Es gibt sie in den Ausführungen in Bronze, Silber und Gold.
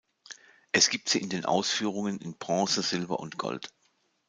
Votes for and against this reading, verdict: 2, 0, accepted